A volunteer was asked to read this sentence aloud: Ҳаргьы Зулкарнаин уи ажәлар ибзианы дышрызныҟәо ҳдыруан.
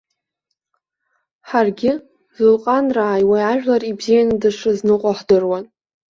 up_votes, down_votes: 1, 2